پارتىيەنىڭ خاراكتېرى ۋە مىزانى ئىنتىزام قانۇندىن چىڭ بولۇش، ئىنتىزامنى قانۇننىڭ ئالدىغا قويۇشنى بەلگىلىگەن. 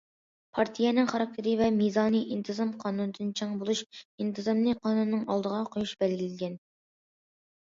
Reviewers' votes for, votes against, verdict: 0, 2, rejected